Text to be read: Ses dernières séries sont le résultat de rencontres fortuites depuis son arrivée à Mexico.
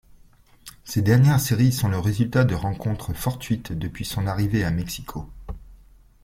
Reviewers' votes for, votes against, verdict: 2, 1, accepted